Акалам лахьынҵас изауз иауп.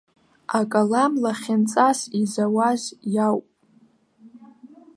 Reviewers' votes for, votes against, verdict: 0, 2, rejected